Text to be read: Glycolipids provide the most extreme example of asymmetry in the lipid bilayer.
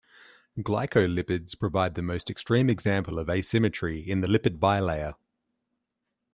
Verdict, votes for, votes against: accepted, 2, 0